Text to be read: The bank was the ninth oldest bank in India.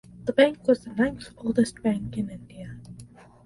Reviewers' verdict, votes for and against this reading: accepted, 4, 0